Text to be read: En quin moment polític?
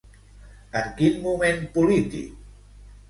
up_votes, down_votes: 2, 0